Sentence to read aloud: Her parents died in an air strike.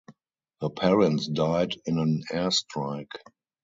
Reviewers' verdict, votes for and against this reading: accepted, 4, 0